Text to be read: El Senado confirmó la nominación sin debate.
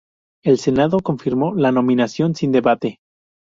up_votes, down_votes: 4, 0